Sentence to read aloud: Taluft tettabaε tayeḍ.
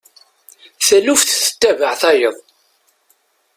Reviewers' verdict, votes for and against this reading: accepted, 2, 0